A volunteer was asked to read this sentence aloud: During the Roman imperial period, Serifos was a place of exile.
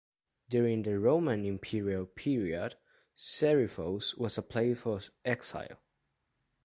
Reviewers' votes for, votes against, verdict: 2, 1, accepted